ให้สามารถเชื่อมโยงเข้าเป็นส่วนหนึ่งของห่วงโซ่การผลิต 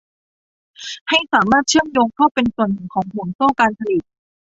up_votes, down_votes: 1, 2